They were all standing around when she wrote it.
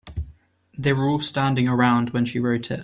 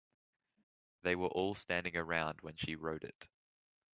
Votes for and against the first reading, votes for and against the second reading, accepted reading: 1, 2, 2, 0, second